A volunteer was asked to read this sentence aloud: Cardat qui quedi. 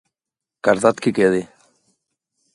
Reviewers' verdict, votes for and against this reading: accepted, 2, 0